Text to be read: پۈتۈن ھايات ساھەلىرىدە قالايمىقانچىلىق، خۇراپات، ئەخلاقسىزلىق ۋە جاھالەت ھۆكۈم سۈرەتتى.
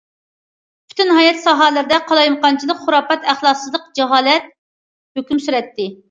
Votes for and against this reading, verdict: 0, 2, rejected